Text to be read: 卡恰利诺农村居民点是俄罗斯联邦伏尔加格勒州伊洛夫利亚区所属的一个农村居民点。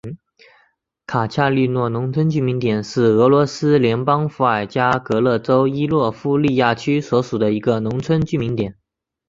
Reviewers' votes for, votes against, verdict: 3, 0, accepted